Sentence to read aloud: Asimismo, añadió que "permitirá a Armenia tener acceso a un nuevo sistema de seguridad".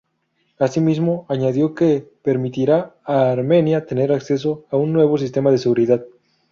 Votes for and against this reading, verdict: 4, 0, accepted